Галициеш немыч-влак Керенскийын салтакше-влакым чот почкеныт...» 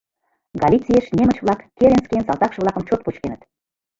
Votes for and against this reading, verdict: 0, 2, rejected